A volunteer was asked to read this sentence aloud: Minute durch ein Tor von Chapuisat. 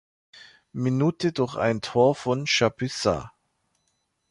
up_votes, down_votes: 2, 0